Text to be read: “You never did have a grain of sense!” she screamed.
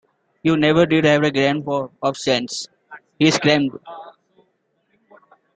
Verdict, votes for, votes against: rejected, 1, 3